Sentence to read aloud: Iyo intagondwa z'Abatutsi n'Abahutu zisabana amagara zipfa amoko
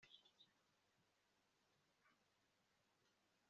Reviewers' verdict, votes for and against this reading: rejected, 1, 2